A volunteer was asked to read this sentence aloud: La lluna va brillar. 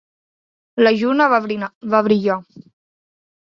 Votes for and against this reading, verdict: 0, 2, rejected